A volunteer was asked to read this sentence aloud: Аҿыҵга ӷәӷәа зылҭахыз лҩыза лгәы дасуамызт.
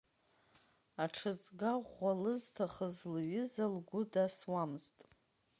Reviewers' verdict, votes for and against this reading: rejected, 0, 2